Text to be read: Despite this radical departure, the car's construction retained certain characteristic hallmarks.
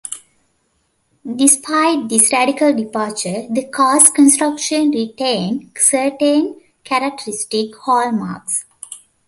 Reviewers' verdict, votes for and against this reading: accepted, 2, 0